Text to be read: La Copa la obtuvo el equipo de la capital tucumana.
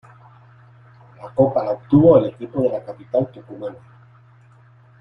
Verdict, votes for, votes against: rejected, 0, 2